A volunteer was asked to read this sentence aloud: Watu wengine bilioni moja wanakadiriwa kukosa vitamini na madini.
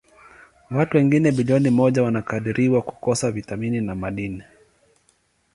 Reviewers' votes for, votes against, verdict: 2, 0, accepted